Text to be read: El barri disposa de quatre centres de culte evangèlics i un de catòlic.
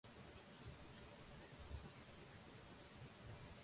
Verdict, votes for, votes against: rejected, 0, 2